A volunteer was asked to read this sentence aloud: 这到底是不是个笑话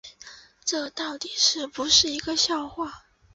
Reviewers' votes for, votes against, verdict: 0, 2, rejected